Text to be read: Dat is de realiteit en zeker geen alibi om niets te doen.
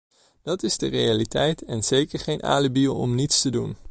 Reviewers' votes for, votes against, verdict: 2, 0, accepted